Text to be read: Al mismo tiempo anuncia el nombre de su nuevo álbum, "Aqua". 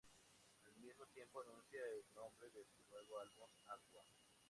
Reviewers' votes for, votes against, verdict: 2, 0, accepted